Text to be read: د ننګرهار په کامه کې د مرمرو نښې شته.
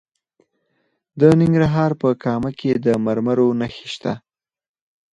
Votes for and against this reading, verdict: 4, 0, accepted